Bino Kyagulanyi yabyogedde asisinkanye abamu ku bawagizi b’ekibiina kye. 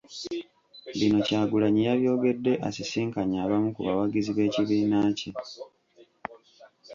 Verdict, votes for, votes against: rejected, 0, 2